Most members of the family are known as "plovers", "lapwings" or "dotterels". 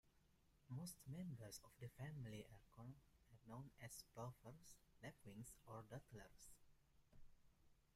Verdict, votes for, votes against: rejected, 0, 2